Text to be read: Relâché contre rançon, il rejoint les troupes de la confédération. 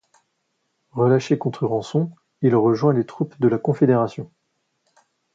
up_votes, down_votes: 2, 0